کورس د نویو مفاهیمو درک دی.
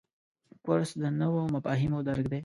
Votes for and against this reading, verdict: 2, 0, accepted